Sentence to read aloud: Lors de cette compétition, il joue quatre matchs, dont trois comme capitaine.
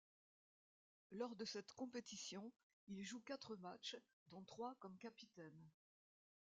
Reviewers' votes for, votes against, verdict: 2, 0, accepted